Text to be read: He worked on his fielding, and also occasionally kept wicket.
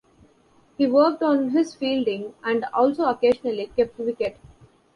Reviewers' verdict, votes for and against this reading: accepted, 2, 0